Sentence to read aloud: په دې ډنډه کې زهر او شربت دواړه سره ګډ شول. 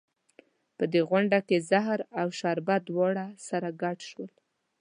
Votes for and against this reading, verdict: 3, 1, accepted